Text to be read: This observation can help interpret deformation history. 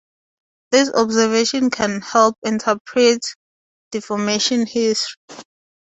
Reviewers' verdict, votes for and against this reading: rejected, 0, 4